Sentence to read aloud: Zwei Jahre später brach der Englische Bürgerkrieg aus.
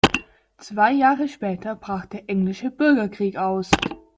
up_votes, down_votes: 2, 0